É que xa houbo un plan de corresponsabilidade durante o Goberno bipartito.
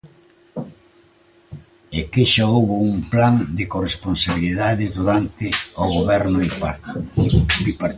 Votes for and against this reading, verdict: 0, 2, rejected